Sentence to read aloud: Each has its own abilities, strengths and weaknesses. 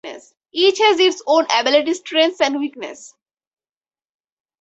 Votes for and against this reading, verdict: 2, 2, rejected